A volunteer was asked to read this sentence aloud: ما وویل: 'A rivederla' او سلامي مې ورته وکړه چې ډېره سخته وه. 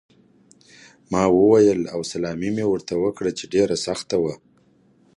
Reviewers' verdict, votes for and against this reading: accepted, 2, 1